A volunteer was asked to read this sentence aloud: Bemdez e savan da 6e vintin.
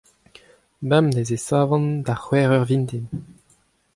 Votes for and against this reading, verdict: 0, 2, rejected